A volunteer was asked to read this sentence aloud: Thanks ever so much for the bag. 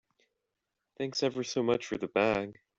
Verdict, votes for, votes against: accepted, 2, 0